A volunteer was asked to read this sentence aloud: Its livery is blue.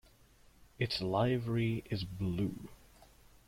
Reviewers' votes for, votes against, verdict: 2, 1, accepted